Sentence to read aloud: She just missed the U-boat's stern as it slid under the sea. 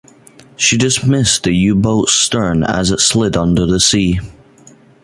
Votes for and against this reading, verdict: 2, 0, accepted